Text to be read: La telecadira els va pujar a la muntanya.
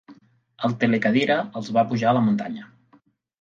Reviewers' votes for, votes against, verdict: 2, 1, accepted